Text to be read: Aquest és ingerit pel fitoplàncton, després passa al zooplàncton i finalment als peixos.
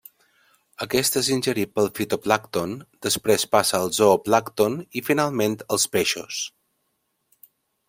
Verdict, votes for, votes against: accepted, 2, 0